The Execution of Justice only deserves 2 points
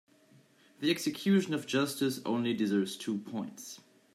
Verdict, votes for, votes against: rejected, 0, 2